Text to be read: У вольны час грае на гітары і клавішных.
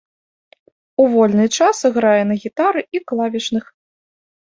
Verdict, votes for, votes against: accepted, 2, 0